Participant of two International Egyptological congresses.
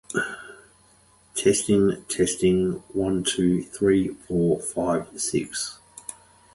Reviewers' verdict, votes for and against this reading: rejected, 0, 2